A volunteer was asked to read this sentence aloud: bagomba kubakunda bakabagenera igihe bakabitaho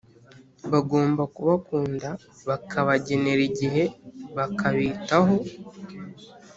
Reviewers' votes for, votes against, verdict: 3, 0, accepted